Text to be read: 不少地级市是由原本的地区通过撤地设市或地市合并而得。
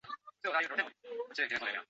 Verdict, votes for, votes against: rejected, 2, 3